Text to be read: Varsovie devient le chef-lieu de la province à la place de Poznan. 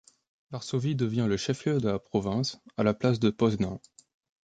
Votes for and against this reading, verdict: 0, 2, rejected